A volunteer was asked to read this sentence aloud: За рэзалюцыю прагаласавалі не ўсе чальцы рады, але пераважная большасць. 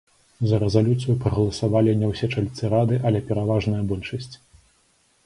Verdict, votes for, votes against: accepted, 2, 0